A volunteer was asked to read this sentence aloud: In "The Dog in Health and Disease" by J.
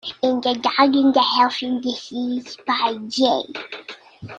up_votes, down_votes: 0, 2